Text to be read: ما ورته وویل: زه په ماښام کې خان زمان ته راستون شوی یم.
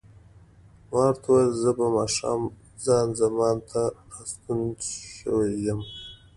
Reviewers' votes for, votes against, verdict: 2, 0, accepted